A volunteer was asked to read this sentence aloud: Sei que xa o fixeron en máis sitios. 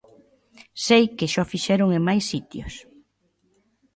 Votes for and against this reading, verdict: 2, 0, accepted